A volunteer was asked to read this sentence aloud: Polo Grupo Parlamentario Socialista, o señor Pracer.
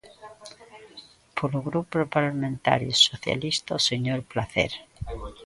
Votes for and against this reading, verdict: 0, 3, rejected